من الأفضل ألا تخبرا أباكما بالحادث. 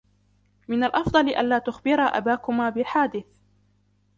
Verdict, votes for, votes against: rejected, 1, 2